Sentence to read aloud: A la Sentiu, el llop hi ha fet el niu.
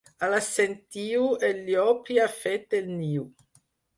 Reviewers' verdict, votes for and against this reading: accepted, 4, 0